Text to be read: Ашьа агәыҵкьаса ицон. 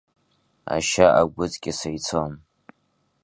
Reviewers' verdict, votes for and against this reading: accepted, 2, 0